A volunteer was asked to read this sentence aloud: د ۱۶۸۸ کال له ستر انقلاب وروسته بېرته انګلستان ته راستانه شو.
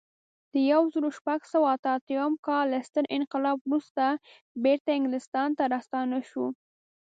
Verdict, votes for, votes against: rejected, 0, 2